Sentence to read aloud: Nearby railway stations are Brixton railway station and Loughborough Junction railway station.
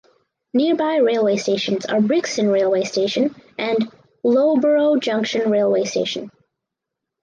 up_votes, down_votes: 4, 0